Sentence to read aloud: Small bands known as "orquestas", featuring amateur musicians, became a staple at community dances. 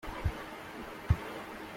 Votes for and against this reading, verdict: 0, 2, rejected